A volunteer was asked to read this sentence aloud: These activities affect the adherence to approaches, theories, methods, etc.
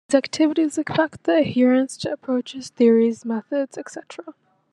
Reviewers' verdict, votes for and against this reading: accepted, 2, 1